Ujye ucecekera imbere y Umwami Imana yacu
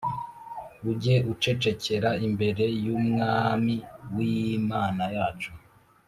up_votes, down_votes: 1, 2